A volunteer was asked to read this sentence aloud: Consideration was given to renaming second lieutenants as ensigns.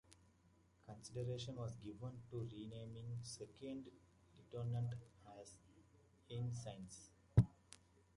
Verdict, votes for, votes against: rejected, 0, 2